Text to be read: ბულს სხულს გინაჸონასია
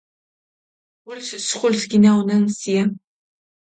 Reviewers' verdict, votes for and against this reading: accepted, 2, 0